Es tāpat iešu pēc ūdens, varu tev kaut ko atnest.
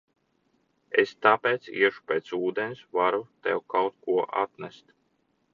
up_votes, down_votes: 0, 3